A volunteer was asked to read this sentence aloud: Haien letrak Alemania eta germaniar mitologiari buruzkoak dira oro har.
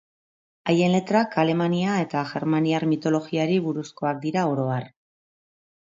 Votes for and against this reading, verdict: 2, 0, accepted